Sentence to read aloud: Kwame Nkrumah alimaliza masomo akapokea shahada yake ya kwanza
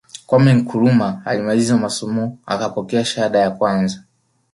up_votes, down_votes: 0, 2